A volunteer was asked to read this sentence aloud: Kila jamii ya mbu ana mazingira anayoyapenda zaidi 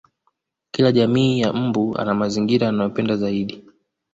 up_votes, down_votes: 2, 0